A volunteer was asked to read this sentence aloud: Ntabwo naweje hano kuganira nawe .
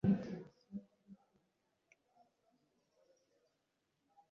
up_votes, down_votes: 0, 2